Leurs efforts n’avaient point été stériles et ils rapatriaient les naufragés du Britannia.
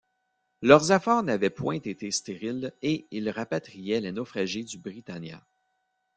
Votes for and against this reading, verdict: 2, 0, accepted